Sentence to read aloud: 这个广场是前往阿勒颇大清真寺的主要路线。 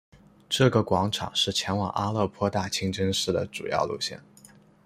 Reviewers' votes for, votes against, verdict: 2, 0, accepted